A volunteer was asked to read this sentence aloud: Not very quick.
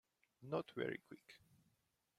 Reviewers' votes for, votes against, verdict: 2, 0, accepted